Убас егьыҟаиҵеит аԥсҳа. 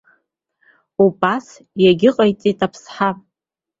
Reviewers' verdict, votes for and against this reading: accepted, 2, 0